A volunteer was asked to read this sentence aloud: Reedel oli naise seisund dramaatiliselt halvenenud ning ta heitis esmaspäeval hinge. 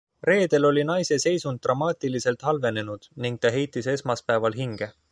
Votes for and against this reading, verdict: 2, 0, accepted